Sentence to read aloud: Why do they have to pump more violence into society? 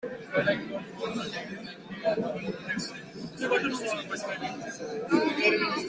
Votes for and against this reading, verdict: 0, 2, rejected